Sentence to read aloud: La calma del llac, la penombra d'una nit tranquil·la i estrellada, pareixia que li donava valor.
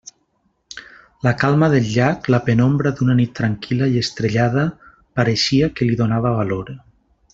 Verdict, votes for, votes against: accepted, 2, 0